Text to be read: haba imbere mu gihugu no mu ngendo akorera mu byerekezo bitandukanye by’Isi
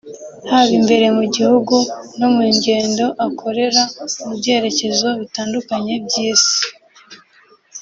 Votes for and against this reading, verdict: 1, 2, rejected